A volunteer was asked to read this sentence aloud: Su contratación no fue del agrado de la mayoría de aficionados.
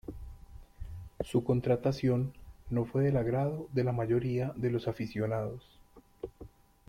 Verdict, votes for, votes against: rejected, 0, 2